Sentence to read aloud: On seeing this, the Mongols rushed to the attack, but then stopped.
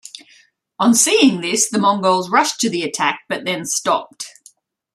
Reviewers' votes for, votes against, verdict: 2, 0, accepted